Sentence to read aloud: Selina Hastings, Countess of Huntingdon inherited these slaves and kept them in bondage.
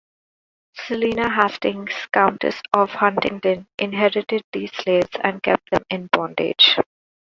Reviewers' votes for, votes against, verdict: 2, 0, accepted